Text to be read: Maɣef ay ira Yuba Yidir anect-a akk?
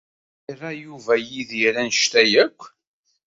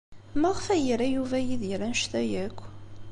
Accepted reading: second